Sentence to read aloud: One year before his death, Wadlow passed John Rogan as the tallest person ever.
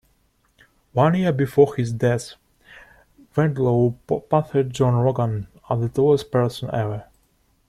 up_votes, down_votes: 0, 2